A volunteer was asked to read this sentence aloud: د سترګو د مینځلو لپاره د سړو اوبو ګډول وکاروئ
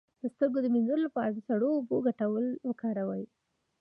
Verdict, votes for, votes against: rejected, 1, 2